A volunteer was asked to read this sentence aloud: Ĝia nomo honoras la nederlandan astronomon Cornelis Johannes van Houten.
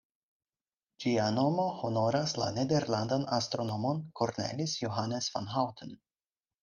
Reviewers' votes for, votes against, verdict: 4, 2, accepted